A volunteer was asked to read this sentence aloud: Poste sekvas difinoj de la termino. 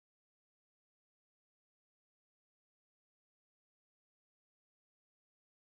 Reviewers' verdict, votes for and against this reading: accepted, 2, 0